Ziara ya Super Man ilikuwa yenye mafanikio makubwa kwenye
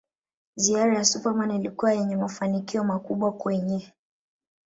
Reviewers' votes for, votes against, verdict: 0, 2, rejected